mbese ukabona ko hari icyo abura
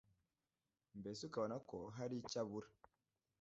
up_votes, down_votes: 1, 2